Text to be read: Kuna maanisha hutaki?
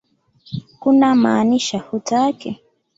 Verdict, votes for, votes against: accepted, 2, 0